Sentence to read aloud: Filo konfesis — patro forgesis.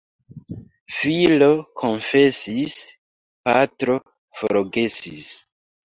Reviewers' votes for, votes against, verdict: 1, 2, rejected